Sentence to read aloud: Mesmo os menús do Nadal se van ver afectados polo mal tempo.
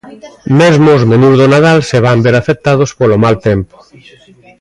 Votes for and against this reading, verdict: 0, 2, rejected